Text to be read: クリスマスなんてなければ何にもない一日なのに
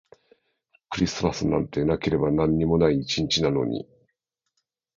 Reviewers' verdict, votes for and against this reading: accepted, 3, 1